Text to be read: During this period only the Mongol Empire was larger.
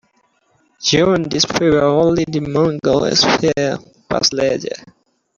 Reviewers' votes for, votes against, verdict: 0, 2, rejected